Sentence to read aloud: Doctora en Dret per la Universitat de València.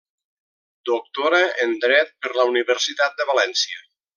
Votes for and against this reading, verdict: 3, 0, accepted